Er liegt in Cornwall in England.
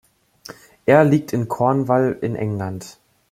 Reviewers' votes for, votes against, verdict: 1, 2, rejected